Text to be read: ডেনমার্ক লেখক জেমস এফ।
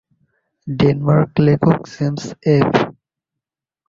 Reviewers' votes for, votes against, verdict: 1, 2, rejected